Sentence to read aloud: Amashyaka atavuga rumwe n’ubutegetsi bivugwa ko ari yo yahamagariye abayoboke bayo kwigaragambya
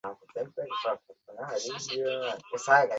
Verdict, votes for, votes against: rejected, 0, 2